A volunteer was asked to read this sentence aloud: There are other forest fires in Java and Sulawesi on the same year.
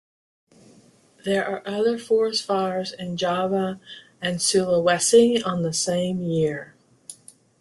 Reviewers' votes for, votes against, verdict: 2, 1, accepted